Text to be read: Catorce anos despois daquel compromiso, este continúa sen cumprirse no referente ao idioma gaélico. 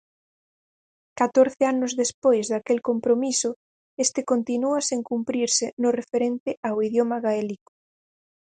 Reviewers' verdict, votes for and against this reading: accepted, 4, 0